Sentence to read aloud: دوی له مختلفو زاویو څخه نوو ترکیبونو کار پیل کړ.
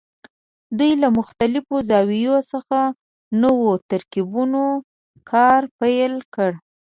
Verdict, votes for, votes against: accepted, 2, 0